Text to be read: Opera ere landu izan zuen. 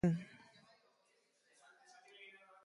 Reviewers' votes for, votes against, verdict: 0, 2, rejected